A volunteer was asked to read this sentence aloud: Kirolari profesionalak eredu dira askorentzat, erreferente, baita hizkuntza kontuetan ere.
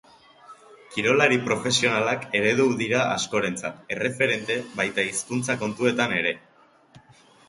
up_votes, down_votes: 6, 0